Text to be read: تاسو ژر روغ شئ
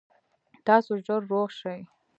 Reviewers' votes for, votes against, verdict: 2, 0, accepted